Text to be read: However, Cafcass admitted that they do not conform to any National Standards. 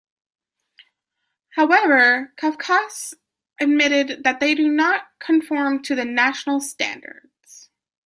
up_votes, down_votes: 0, 2